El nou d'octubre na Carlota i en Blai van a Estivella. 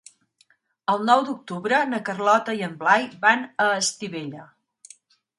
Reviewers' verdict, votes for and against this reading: accepted, 2, 0